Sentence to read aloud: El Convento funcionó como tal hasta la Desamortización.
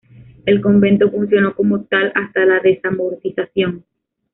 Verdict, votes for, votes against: rejected, 0, 2